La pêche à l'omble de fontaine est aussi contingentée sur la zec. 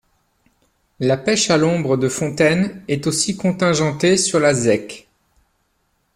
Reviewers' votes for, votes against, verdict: 0, 2, rejected